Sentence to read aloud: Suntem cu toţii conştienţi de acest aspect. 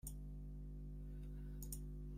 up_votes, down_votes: 0, 2